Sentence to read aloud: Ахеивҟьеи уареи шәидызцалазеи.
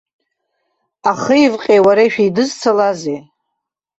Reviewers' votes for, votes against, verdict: 1, 2, rejected